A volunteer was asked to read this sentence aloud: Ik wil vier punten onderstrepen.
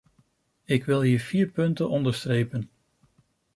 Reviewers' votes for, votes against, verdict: 0, 2, rejected